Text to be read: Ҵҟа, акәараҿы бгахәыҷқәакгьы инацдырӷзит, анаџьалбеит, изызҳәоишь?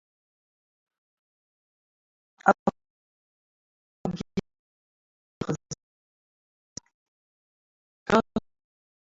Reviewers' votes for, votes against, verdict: 1, 2, rejected